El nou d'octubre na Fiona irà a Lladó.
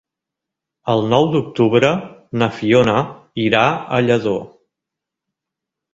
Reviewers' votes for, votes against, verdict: 2, 0, accepted